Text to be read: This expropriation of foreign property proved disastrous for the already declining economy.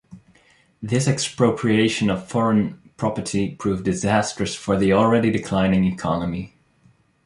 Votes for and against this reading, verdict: 4, 0, accepted